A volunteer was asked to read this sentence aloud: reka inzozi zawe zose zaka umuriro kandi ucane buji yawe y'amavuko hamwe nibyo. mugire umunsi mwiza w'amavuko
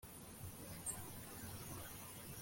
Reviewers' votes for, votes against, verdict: 0, 2, rejected